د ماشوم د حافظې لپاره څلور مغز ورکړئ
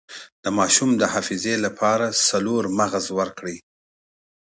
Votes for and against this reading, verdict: 2, 0, accepted